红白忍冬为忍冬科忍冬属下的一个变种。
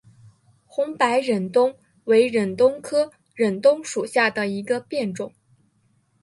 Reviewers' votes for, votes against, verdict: 2, 1, accepted